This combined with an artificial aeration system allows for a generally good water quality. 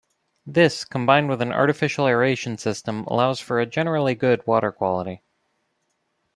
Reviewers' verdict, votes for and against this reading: accepted, 2, 0